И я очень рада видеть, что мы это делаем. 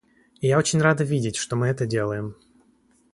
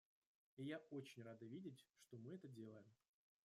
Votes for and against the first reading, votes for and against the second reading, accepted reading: 2, 0, 0, 2, first